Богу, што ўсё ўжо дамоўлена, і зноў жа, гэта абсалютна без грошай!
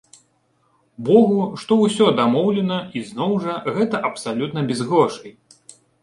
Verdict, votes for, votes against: accepted, 2, 1